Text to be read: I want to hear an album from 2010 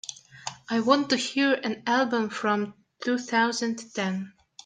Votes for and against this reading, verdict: 0, 2, rejected